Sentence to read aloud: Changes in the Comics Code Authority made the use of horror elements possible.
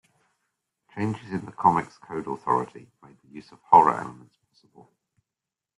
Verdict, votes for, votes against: rejected, 1, 2